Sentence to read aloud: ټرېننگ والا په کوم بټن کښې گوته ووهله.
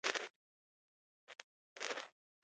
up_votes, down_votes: 0, 2